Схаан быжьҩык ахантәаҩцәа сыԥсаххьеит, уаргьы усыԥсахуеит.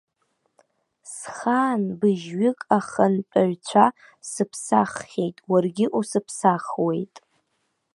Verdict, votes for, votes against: rejected, 1, 2